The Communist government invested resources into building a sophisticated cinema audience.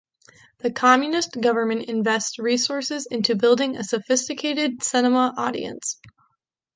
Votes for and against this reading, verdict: 0, 2, rejected